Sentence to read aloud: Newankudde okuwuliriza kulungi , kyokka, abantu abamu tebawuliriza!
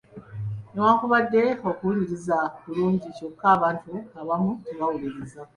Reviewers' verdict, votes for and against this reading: rejected, 1, 2